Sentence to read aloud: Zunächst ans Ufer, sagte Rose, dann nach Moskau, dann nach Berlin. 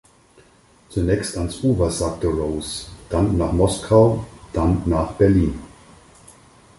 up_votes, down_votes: 2, 4